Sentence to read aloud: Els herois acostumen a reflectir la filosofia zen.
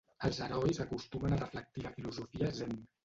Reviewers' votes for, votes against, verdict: 1, 2, rejected